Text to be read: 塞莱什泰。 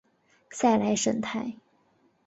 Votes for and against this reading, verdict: 3, 0, accepted